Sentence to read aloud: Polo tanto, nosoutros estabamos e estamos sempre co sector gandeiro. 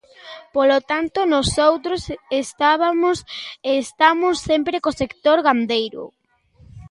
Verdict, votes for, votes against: rejected, 0, 2